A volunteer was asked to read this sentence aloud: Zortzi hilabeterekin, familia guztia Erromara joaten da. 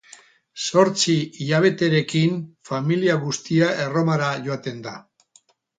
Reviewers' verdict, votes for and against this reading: rejected, 0, 2